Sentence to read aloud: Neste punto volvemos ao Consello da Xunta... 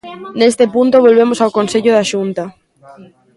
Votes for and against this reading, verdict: 0, 2, rejected